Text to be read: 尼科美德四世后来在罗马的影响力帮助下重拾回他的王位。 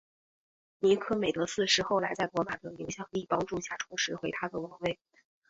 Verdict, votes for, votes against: accepted, 2, 0